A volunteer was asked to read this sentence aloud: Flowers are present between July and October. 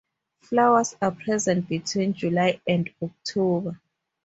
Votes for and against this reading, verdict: 4, 0, accepted